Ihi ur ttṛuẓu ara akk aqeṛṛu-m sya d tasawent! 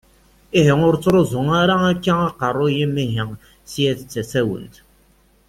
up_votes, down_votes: 1, 2